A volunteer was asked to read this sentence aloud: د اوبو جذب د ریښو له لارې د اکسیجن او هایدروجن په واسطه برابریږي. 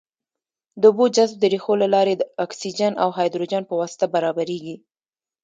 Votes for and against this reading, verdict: 1, 2, rejected